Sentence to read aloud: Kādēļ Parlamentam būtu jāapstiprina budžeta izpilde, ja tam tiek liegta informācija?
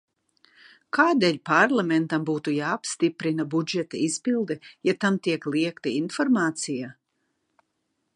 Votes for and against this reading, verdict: 0, 2, rejected